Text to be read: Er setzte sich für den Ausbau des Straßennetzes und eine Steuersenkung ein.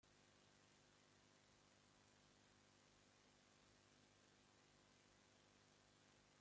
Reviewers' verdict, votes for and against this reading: rejected, 0, 2